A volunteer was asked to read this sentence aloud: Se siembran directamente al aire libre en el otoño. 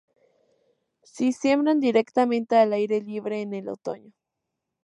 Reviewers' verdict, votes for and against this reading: rejected, 0, 2